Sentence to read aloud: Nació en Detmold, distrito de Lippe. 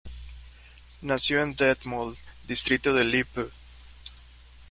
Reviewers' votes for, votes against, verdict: 0, 2, rejected